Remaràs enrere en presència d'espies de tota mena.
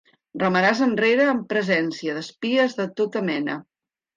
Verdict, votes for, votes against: accepted, 3, 0